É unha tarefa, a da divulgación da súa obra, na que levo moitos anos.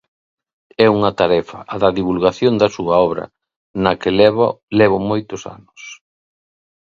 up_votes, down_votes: 0, 2